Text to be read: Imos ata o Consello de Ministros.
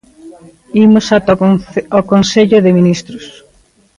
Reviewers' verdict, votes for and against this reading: rejected, 0, 2